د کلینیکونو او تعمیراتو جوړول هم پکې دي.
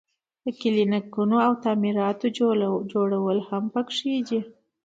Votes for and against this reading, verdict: 2, 0, accepted